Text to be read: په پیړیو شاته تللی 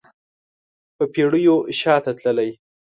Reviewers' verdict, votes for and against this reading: accepted, 2, 0